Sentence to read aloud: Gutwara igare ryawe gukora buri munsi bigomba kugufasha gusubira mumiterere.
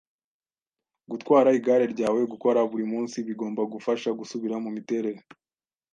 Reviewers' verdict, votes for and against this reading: accepted, 2, 0